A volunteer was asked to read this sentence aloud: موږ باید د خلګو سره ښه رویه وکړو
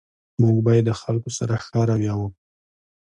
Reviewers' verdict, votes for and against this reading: accepted, 2, 0